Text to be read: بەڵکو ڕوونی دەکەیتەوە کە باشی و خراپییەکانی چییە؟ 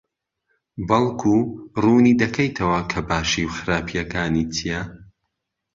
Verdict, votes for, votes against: accepted, 2, 0